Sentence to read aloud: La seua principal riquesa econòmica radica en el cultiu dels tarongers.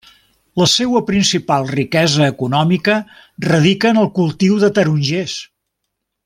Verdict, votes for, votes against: rejected, 0, 2